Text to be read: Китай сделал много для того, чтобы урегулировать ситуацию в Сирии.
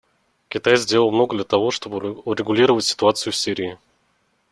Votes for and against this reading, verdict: 1, 2, rejected